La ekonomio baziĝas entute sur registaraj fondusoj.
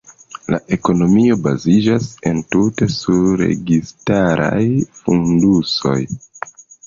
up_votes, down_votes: 2, 1